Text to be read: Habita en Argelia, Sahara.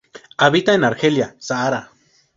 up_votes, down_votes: 2, 0